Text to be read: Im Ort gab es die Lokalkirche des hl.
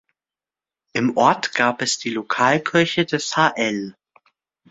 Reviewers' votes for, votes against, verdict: 2, 1, accepted